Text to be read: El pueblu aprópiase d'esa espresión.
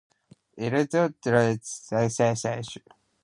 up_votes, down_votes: 0, 2